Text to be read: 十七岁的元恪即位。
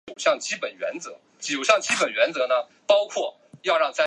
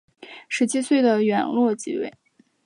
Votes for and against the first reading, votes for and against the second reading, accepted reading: 1, 2, 3, 0, second